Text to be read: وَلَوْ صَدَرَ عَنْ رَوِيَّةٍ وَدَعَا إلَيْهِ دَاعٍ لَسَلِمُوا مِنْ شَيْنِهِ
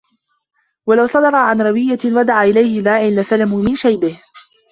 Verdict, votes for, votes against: rejected, 0, 2